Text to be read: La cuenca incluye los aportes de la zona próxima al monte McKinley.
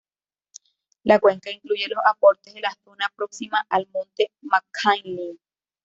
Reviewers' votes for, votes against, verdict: 1, 2, rejected